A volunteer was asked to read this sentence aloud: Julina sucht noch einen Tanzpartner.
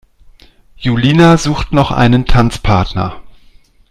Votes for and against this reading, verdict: 2, 0, accepted